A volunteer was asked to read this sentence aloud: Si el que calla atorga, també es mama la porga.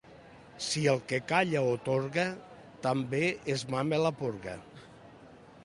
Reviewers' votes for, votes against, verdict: 2, 0, accepted